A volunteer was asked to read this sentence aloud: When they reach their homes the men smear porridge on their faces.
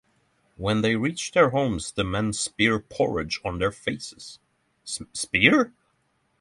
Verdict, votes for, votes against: rejected, 0, 6